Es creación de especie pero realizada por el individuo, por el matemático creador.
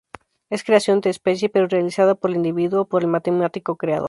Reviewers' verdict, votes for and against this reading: accepted, 4, 0